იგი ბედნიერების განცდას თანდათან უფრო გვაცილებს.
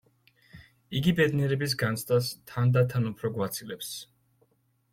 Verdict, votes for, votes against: accepted, 2, 0